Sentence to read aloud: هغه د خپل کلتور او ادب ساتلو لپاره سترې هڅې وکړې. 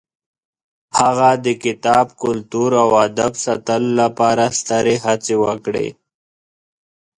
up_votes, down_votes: 1, 2